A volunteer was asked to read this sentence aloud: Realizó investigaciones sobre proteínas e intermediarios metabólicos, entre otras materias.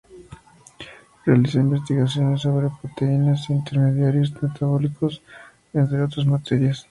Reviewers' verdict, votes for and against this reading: accepted, 2, 0